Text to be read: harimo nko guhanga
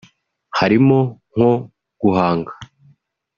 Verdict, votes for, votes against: accepted, 2, 0